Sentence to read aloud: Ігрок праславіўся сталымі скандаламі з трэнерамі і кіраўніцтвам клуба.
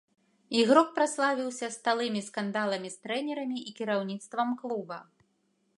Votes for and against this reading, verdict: 0, 2, rejected